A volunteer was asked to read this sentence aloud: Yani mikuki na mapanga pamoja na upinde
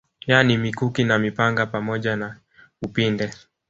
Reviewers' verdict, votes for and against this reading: rejected, 0, 2